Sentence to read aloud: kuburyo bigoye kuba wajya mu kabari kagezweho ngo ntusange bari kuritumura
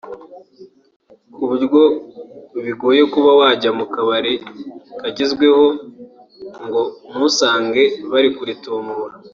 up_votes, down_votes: 2, 0